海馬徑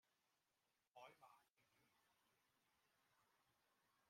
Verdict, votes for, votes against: rejected, 0, 2